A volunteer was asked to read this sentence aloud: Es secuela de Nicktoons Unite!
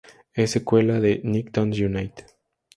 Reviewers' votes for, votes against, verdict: 2, 0, accepted